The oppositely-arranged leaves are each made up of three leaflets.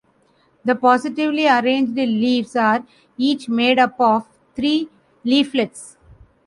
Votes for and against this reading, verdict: 1, 2, rejected